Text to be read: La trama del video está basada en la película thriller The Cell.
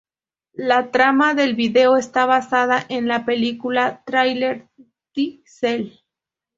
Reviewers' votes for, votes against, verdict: 0, 2, rejected